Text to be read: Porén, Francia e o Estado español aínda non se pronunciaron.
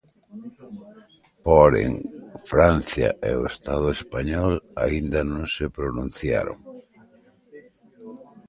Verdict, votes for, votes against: accepted, 2, 1